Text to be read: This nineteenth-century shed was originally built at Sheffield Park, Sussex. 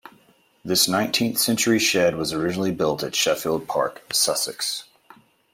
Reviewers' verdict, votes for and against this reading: accepted, 2, 0